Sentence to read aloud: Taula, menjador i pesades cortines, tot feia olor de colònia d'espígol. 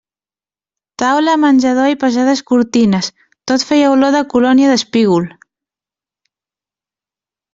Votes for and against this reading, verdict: 2, 0, accepted